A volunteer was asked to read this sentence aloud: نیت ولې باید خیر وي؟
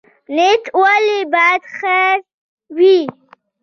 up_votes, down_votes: 1, 2